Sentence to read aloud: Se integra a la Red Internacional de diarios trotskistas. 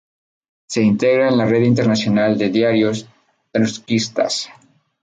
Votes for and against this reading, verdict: 0, 2, rejected